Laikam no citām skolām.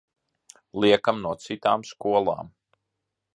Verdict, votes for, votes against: rejected, 0, 2